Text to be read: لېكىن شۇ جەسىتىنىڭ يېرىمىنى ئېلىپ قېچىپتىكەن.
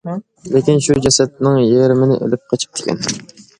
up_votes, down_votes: 1, 2